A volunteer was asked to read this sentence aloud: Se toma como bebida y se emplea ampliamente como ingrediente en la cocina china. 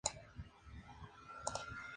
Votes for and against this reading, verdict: 0, 2, rejected